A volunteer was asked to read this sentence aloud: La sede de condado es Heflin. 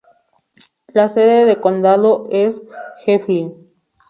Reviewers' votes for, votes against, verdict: 2, 0, accepted